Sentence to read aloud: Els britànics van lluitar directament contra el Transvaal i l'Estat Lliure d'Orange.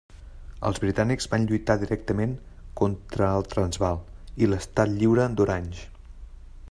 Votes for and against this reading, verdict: 2, 0, accepted